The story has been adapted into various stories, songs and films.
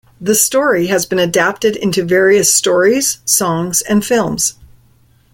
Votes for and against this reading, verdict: 2, 1, accepted